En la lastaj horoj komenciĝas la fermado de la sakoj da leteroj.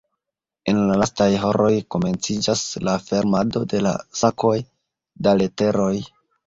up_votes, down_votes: 0, 2